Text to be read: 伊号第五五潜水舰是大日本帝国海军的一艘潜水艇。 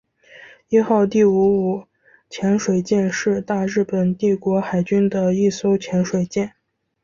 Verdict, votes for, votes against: accepted, 2, 0